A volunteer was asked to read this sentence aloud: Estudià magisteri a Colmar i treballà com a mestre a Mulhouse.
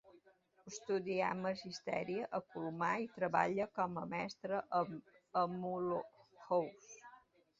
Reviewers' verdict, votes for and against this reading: rejected, 0, 2